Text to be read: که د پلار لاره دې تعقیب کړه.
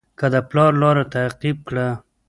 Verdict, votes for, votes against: rejected, 0, 2